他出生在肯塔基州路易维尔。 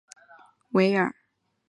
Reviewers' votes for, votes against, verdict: 0, 3, rejected